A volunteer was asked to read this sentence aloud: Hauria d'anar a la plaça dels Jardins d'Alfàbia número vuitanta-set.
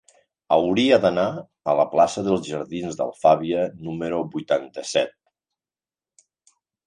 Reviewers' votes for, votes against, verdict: 2, 0, accepted